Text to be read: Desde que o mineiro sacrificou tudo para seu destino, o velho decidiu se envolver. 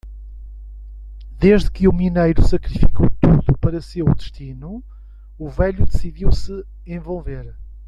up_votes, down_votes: 1, 2